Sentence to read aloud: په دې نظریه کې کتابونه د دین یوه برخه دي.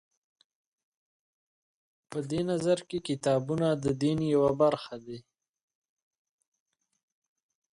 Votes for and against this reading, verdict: 1, 2, rejected